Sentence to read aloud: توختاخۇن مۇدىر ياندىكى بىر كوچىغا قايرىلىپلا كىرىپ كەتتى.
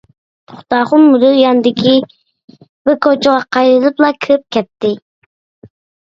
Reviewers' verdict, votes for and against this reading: rejected, 0, 2